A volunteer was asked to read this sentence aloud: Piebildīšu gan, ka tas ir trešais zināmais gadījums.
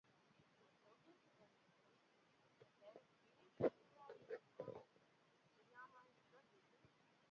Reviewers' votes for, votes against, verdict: 0, 2, rejected